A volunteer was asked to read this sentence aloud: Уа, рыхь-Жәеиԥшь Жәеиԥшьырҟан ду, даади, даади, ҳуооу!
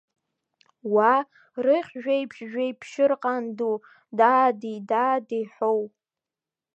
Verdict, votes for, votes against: accepted, 2, 0